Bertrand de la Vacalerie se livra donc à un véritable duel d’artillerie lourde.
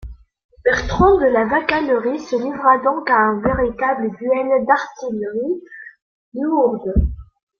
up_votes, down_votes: 1, 2